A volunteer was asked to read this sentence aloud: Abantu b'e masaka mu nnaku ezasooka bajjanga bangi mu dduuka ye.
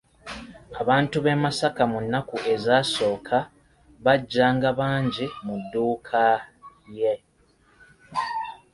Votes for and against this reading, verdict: 1, 2, rejected